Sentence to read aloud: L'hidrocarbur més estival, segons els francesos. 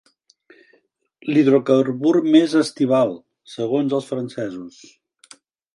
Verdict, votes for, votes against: accepted, 3, 0